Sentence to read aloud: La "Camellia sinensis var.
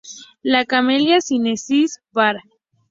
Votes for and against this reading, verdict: 0, 2, rejected